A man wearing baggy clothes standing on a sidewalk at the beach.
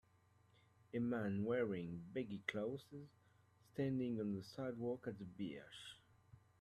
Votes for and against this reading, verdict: 1, 2, rejected